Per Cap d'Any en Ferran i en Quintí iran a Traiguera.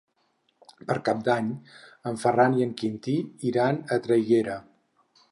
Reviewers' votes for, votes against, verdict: 6, 0, accepted